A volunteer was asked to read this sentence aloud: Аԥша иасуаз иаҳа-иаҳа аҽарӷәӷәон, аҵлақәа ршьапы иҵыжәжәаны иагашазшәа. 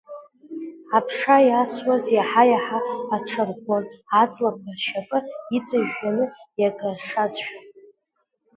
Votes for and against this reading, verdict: 0, 2, rejected